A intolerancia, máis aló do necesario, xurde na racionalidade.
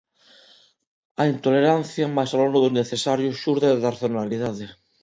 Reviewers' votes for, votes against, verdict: 0, 2, rejected